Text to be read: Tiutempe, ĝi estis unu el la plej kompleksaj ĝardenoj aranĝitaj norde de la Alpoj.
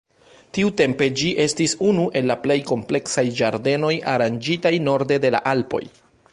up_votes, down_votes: 2, 1